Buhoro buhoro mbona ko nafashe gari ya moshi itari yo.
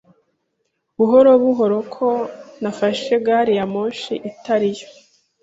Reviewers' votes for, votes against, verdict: 0, 2, rejected